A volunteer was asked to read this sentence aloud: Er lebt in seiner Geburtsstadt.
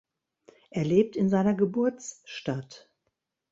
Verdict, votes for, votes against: accepted, 2, 0